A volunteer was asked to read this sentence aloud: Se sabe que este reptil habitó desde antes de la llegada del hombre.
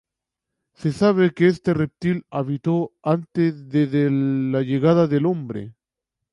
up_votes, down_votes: 2, 0